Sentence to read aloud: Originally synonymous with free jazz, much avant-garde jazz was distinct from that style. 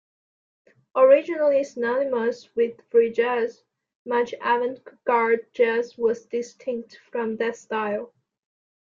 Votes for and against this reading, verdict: 2, 0, accepted